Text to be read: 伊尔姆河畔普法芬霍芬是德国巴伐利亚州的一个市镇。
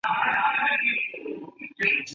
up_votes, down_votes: 0, 2